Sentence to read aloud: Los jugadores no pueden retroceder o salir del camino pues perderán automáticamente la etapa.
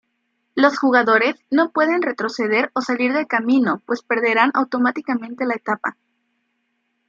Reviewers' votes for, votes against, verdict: 2, 0, accepted